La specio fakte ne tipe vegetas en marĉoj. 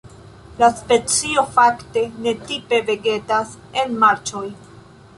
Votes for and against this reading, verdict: 2, 0, accepted